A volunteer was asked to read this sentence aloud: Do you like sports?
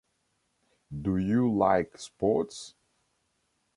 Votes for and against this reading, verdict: 2, 0, accepted